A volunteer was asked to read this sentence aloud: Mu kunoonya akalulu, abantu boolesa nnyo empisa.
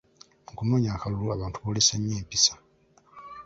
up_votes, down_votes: 0, 2